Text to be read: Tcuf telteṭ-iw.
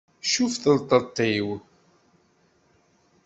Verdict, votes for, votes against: accepted, 2, 0